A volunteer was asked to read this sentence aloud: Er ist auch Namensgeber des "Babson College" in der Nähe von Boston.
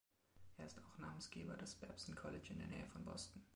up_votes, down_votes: 0, 2